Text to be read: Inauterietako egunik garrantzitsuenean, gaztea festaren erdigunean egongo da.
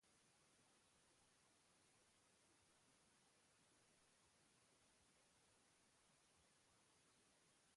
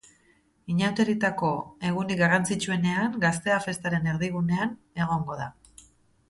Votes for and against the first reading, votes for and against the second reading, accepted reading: 0, 2, 2, 0, second